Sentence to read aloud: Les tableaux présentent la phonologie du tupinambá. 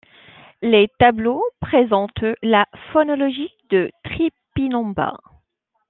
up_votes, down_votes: 0, 2